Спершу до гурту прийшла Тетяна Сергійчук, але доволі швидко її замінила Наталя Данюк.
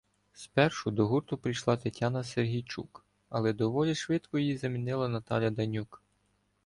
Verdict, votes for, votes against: accepted, 2, 0